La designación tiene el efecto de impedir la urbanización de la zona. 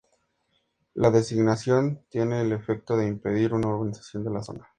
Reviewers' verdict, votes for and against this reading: rejected, 0, 2